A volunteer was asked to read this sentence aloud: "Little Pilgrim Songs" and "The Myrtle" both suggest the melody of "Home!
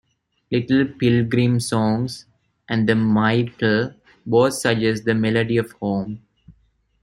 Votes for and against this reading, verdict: 1, 2, rejected